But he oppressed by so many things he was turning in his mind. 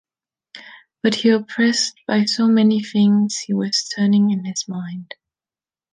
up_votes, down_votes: 2, 0